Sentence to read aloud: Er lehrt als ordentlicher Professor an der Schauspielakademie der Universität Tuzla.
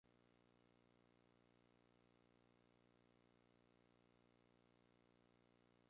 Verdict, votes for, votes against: rejected, 0, 2